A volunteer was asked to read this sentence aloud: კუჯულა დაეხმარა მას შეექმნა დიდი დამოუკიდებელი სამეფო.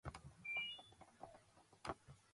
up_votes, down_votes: 0, 2